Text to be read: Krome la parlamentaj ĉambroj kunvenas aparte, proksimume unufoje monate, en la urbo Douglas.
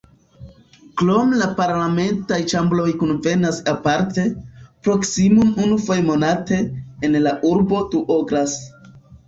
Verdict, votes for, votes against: rejected, 1, 2